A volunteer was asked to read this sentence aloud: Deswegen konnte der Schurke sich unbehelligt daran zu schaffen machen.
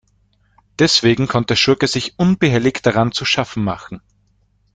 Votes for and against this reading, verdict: 1, 2, rejected